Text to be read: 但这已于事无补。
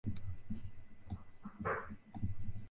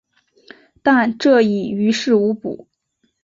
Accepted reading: second